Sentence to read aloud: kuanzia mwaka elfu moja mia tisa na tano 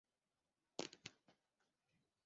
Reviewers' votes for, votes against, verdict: 0, 2, rejected